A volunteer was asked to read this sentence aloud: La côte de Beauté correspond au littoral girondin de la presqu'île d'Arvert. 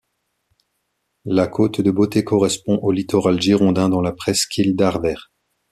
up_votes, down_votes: 1, 2